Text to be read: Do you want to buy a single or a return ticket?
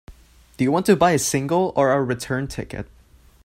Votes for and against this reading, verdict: 2, 0, accepted